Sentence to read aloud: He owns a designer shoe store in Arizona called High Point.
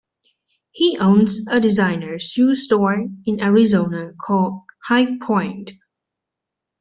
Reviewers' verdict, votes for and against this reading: accepted, 2, 0